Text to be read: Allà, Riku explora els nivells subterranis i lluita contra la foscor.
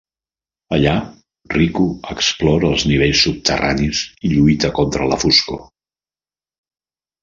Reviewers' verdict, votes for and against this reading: accepted, 2, 0